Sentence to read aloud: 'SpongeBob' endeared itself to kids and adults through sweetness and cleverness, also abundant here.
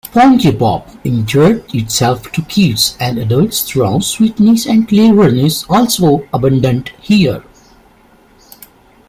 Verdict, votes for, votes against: rejected, 0, 2